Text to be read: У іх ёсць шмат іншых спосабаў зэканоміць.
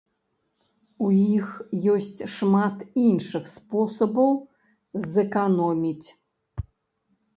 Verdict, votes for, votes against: rejected, 0, 2